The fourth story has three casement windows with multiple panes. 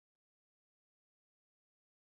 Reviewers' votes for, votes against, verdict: 0, 2, rejected